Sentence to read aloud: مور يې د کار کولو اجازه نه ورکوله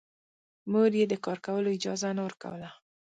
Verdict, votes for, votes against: rejected, 1, 2